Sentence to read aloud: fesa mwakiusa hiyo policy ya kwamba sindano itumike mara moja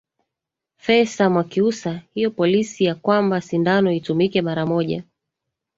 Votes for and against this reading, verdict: 1, 2, rejected